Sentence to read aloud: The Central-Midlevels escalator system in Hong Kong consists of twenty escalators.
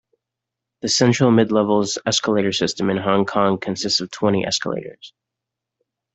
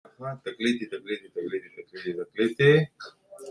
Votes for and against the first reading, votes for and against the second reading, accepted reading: 2, 0, 1, 2, first